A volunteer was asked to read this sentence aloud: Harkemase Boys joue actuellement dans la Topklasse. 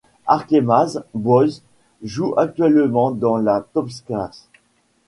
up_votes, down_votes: 1, 2